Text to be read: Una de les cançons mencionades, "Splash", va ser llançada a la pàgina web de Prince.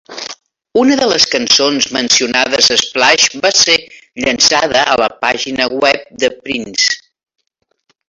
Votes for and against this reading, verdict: 2, 0, accepted